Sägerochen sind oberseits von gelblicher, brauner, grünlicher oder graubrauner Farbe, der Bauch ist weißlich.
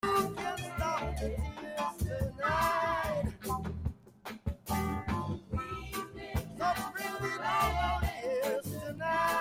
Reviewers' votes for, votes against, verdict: 0, 2, rejected